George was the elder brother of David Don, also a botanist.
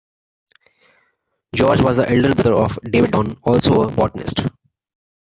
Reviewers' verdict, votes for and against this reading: rejected, 1, 2